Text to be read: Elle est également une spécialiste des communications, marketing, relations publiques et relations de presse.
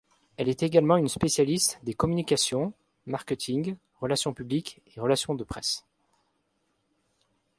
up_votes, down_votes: 2, 0